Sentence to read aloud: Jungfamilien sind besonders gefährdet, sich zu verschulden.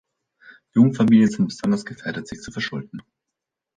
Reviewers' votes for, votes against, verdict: 2, 1, accepted